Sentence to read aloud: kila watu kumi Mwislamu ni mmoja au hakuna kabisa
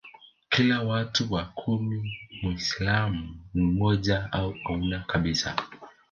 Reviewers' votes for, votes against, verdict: 0, 2, rejected